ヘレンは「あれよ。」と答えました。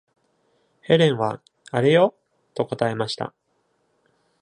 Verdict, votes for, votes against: accepted, 2, 0